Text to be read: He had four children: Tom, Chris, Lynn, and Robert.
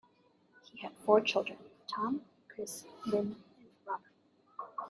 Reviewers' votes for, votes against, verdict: 0, 2, rejected